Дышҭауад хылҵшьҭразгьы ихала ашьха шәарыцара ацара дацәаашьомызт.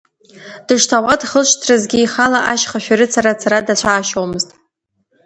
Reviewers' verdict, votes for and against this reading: rejected, 1, 2